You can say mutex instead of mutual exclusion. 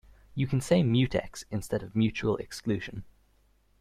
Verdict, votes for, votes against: accepted, 2, 0